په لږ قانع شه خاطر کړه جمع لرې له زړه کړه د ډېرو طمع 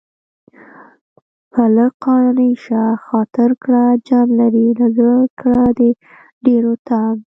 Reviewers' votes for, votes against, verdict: 0, 2, rejected